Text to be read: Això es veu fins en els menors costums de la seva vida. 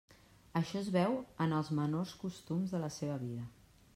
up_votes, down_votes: 1, 2